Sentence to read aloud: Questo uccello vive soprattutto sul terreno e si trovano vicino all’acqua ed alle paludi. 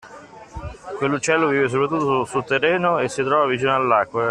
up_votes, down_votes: 0, 2